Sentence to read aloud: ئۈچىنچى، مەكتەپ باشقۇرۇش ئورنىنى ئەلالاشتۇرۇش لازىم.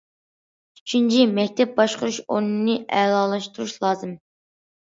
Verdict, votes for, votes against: accepted, 2, 0